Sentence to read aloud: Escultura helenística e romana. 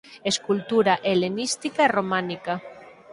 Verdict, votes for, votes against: rejected, 0, 4